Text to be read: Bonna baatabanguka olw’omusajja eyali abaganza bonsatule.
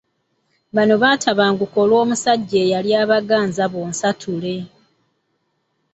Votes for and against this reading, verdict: 2, 0, accepted